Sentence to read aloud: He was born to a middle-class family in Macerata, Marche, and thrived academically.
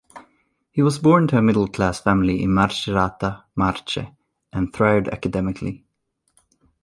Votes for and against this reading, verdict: 2, 0, accepted